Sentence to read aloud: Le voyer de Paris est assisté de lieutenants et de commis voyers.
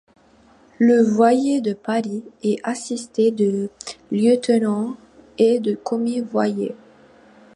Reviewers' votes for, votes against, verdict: 1, 2, rejected